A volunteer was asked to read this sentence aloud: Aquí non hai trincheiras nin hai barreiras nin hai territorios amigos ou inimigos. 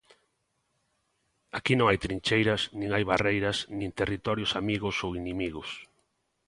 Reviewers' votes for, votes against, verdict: 0, 2, rejected